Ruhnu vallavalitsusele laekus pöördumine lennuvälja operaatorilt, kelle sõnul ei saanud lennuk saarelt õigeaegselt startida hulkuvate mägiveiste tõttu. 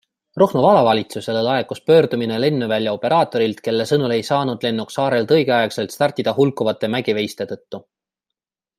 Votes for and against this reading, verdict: 2, 0, accepted